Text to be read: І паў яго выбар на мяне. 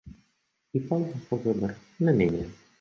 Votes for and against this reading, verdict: 1, 2, rejected